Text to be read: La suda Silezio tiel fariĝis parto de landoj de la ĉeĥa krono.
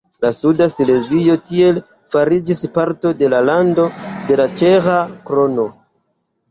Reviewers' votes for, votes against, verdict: 1, 2, rejected